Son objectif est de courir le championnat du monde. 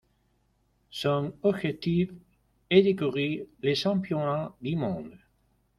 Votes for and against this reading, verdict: 1, 2, rejected